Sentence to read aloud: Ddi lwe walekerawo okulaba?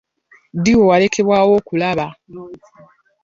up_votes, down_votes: 0, 2